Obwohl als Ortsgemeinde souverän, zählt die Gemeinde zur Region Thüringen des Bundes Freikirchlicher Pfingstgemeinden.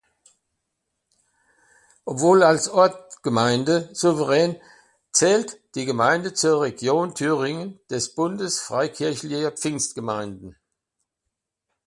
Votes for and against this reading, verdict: 2, 0, accepted